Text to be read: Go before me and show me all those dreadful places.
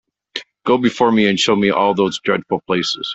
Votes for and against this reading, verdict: 2, 0, accepted